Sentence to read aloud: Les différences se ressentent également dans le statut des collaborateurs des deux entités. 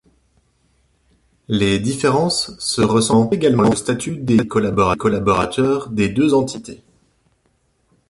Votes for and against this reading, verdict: 0, 2, rejected